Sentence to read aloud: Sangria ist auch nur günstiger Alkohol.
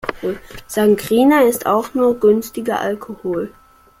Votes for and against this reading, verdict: 0, 2, rejected